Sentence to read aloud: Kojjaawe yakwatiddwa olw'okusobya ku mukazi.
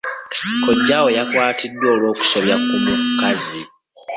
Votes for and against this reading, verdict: 0, 2, rejected